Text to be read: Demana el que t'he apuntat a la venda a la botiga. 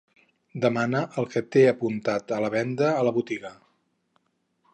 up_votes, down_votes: 4, 0